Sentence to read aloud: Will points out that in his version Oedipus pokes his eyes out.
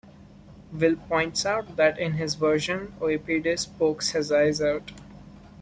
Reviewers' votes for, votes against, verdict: 0, 2, rejected